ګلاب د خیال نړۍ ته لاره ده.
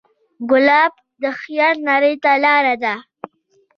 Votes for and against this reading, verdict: 2, 0, accepted